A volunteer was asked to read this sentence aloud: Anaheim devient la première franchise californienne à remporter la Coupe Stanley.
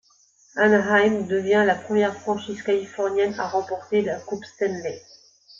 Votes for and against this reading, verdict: 2, 0, accepted